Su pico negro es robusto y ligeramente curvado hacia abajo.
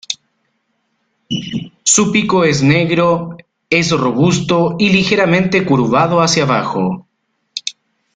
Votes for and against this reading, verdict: 0, 2, rejected